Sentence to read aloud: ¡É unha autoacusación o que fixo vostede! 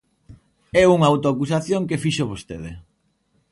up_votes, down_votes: 1, 2